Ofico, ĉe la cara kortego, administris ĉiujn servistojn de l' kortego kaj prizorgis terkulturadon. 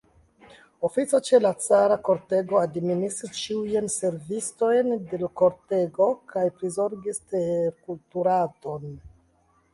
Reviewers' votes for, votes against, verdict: 0, 2, rejected